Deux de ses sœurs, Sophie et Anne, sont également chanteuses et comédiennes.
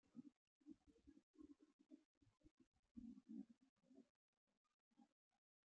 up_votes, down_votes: 0, 2